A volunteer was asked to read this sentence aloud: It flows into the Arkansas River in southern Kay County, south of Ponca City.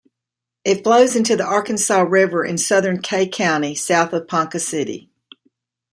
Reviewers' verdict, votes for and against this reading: accepted, 2, 0